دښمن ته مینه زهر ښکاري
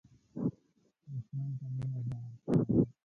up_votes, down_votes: 0, 2